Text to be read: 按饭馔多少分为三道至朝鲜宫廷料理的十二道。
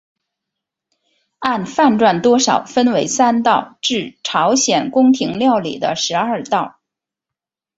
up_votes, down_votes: 2, 0